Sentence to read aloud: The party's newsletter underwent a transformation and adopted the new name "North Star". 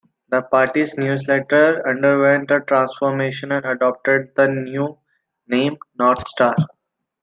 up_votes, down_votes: 2, 0